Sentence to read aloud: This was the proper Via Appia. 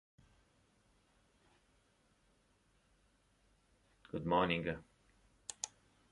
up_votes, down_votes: 0, 2